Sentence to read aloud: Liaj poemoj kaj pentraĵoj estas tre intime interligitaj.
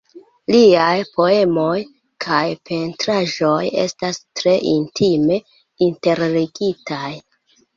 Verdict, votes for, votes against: rejected, 0, 2